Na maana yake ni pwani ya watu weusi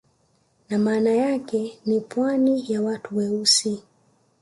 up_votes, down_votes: 1, 2